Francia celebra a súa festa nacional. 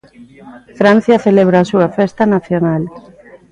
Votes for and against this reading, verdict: 0, 2, rejected